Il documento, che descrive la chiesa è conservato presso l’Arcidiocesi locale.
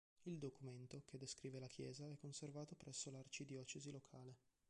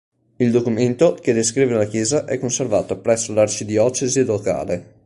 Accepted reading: second